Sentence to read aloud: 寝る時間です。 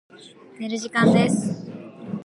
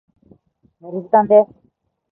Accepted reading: first